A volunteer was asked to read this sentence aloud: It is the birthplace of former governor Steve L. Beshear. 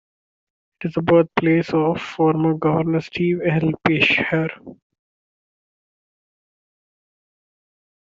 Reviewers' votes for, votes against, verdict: 1, 2, rejected